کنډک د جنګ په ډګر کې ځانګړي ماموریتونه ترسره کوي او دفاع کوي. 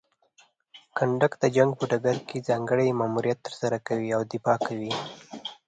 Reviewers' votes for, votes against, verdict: 1, 2, rejected